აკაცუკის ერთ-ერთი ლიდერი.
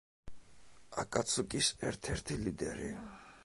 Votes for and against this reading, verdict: 3, 0, accepted